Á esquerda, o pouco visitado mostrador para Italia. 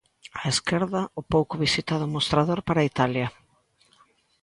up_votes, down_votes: 2, 0